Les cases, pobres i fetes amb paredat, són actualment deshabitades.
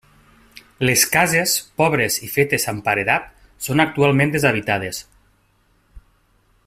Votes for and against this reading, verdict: 2, 0, accepted